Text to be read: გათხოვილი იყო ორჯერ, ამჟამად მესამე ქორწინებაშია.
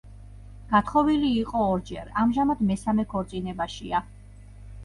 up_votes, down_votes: 1, 2